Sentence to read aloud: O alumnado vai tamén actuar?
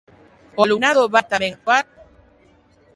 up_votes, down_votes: 0, 2